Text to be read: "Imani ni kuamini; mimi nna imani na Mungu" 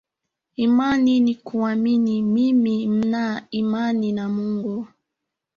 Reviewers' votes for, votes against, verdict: 1, 2, rejected